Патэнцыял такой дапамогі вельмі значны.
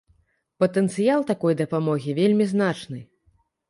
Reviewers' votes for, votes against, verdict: 2, 0, accepted